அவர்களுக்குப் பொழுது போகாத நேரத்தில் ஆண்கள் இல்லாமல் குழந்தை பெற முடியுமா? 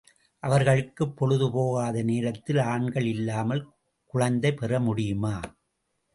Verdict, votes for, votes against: rejected, 0, 2